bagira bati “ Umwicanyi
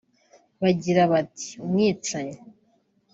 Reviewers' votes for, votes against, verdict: 1, 2, rejected